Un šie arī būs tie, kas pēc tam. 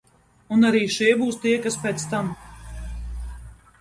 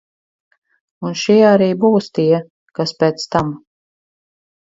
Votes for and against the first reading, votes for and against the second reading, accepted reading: 0, 2, 4, 0, second